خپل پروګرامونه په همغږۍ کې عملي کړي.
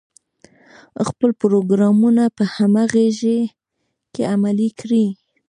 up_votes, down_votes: 1, 2